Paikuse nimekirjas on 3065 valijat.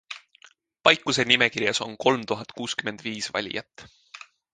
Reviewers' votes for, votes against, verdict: 0, 2, rejected